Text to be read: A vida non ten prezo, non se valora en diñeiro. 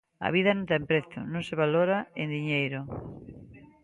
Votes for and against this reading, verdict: 2, 0, accepted